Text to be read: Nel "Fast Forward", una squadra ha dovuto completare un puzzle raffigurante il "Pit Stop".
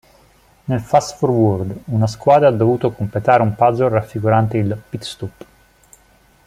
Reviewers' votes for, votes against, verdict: 1, 2, rejected